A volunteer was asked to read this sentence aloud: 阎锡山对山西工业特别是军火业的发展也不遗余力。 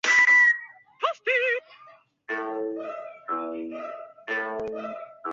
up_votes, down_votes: 0, 4